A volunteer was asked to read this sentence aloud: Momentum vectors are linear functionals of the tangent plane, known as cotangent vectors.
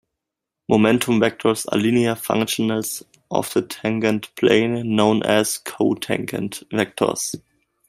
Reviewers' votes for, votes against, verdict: 0, 2, rejected